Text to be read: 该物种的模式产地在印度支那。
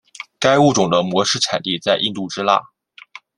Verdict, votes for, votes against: accepted, 2, 1